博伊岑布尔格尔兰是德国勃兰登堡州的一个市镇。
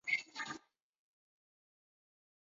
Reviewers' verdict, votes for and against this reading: rejected, 1, 3